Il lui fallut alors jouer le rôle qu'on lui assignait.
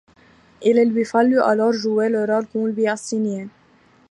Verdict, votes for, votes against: accepted, 2, 1